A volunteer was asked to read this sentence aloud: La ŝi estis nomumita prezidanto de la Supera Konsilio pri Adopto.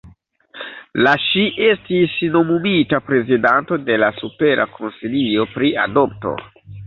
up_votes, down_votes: 2, 0